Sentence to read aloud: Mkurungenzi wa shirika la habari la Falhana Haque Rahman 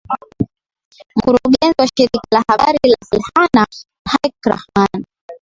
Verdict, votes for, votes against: rejected, 1, 2